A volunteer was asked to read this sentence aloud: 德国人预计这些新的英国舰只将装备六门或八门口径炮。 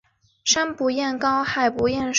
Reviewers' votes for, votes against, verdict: 0, 2, rejected